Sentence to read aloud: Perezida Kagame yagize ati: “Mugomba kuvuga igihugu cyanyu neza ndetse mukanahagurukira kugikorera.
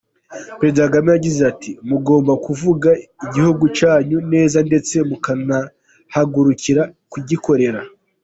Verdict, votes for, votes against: rejected, 0, 2